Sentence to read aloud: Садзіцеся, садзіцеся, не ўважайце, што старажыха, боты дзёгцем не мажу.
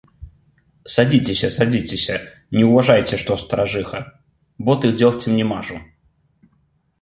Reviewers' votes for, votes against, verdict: 2, 0, accepted